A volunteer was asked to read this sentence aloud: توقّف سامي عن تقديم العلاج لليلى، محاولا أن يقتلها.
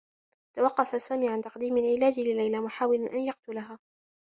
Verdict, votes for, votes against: accepted, 2, 0